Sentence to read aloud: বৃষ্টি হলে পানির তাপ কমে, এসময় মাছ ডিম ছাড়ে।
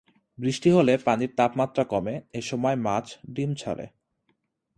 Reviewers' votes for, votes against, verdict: 2, 0, accepted